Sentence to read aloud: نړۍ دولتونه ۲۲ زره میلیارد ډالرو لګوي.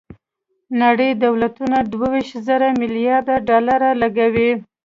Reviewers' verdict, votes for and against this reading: rejected, 0, 2